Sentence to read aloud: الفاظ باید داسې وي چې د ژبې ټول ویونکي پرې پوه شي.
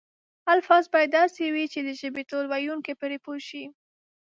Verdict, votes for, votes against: accepted, 2, 0